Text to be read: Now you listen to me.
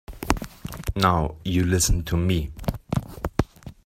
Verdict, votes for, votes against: accepted, 2, 0